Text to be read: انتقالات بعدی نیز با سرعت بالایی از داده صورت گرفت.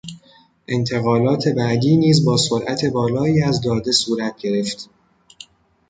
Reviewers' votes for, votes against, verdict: 2, 0, accepted